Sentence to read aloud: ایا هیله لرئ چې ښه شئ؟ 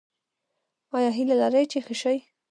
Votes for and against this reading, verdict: 1, 2, rejected